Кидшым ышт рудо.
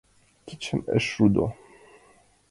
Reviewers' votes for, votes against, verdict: 2, 1, accepted